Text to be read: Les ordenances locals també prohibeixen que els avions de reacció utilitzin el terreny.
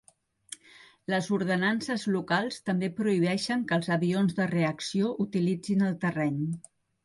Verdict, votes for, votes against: accepted, 2, 0